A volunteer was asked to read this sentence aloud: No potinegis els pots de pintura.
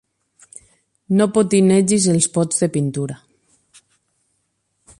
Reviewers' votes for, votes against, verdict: 8, 0, accepted